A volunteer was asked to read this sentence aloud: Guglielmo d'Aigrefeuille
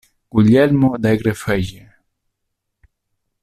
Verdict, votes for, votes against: rejected, 1, 2